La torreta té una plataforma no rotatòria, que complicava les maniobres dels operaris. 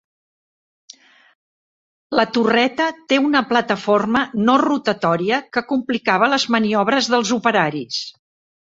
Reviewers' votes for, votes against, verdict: 4, 0, accepted